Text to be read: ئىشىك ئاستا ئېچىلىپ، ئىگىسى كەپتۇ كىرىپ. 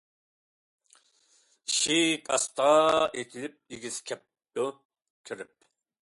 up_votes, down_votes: 2, 1